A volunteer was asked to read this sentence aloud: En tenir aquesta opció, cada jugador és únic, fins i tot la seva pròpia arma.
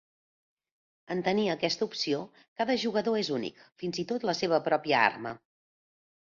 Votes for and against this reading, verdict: 2, 0, accepted